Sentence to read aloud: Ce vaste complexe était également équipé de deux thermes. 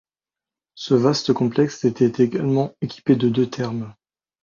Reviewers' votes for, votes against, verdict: 2, 0, accepted